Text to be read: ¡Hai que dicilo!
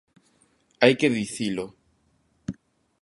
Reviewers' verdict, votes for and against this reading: accepted, 2, 0